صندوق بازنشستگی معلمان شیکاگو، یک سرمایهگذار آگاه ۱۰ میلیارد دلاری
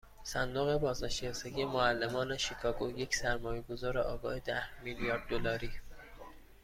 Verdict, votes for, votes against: rejected, 0, 2